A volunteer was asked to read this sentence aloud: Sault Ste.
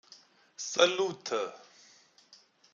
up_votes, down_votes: 0, 2